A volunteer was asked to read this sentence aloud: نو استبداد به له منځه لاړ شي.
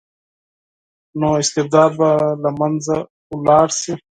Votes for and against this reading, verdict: 0, 4, rejected